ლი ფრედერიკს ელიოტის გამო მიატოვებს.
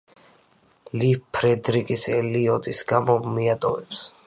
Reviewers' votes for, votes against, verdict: 0, 2, rejected